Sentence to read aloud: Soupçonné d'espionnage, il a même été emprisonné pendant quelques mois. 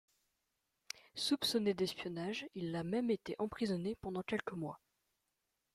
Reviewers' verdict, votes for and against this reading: accepted, 2, 0